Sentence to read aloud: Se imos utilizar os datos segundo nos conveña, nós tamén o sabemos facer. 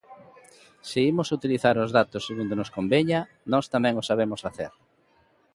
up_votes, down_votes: 2, 1